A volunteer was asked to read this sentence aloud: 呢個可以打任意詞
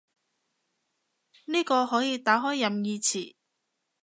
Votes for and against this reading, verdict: 0, 2, rejected